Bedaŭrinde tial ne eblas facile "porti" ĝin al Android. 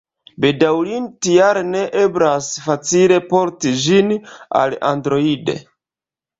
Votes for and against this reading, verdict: 1, 2, rejected